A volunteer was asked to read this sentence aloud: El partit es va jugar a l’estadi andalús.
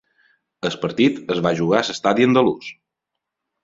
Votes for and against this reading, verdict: 0, 2, rejected